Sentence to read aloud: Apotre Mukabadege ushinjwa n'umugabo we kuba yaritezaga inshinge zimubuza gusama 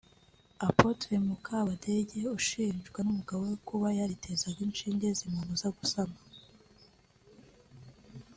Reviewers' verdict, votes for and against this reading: accepted, 2, 0